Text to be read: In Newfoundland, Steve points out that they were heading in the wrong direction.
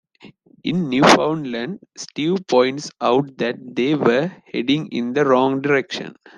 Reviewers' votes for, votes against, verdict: 2, 0, accepted